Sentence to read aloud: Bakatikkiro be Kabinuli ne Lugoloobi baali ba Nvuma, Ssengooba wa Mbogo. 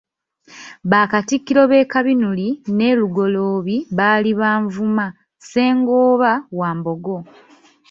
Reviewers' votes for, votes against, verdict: 2, 1, accepted